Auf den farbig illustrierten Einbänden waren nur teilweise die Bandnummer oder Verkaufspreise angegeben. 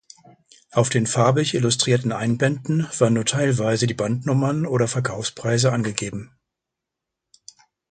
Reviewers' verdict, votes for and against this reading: rejected, 0, 2